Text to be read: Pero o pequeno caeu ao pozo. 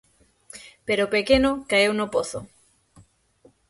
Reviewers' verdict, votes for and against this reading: rejected, 0, 6